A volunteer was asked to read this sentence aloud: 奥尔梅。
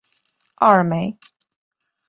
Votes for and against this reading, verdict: 5, 0, accepted